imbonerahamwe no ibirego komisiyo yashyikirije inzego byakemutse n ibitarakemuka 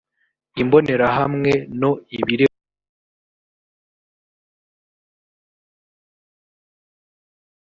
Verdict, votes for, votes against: rejected, 0, 2